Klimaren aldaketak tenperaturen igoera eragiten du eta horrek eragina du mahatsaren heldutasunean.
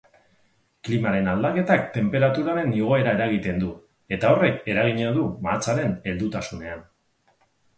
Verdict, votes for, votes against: rejected, 0, 2